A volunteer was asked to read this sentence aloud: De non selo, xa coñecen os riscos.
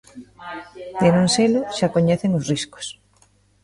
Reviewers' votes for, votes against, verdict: 0, 2, rejected